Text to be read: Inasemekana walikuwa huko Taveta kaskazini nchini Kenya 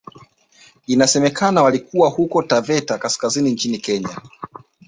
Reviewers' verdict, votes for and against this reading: accepted, 2, 1